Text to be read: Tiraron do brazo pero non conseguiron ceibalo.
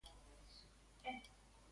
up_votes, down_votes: 0, 2